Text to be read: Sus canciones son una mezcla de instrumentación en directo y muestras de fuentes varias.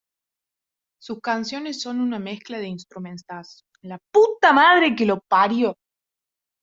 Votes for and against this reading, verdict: 1, 2, rejected